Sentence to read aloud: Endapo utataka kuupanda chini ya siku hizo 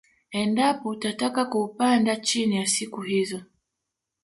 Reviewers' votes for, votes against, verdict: 2, 0, accepted